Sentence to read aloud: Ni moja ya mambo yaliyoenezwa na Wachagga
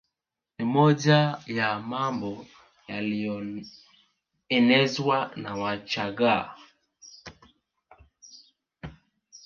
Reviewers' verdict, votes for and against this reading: accepted, 2, 1